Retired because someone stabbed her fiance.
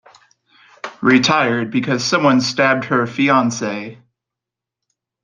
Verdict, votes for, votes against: accepted, 2, 0